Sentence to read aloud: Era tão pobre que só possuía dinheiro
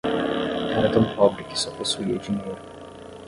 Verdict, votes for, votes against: rejected, 5, 10